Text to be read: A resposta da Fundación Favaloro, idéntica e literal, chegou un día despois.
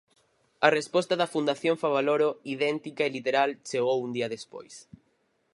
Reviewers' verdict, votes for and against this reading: accepted, 4, 0